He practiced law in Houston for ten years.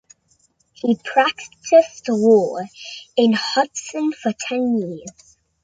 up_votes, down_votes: 1, 2